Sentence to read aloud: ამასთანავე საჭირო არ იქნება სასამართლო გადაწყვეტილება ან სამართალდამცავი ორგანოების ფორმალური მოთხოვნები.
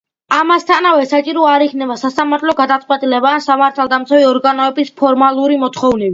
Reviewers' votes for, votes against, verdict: 2, 0, accepted